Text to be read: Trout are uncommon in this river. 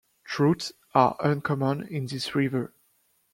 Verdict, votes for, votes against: rejected, 0, 2